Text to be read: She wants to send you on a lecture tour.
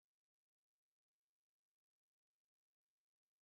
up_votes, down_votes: 0, 3